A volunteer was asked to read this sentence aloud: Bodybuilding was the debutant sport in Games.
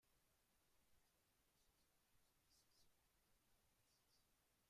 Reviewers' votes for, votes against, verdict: 0, 2, rejected